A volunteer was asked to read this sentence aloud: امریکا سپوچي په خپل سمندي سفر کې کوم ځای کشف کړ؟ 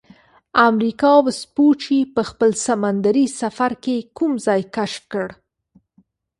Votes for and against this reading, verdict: 2, 1, accepted